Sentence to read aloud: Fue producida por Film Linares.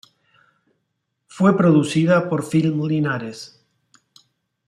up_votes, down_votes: 1, 3